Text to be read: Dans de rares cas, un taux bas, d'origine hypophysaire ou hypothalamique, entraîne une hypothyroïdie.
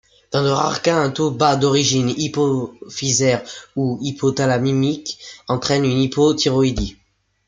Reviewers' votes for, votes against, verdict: 2, 0, accepted